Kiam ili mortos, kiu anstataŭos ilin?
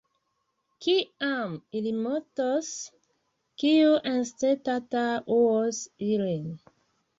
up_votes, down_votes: 1, 2